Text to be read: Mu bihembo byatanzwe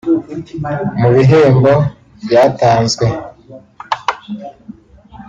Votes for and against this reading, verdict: 2, 0, accepted